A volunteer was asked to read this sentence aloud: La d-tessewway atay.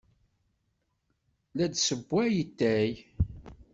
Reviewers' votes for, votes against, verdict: 2, 0, accepted